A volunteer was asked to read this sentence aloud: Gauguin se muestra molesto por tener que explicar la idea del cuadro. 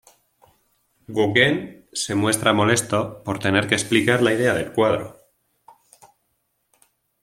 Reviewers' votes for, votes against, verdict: 2, 0, accepted